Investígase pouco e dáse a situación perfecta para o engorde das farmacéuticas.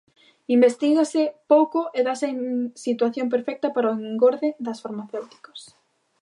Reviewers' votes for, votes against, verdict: 0, 2, rejected